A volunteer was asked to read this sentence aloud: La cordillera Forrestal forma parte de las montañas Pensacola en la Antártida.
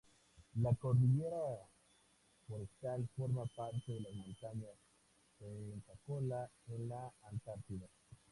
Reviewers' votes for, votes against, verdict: 0, 4, rejected